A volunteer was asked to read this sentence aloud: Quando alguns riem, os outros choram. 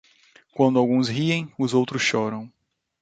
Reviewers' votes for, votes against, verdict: 2, 0, accepted